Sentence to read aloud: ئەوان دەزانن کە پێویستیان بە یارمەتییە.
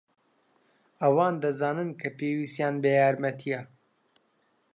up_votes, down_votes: 2, 0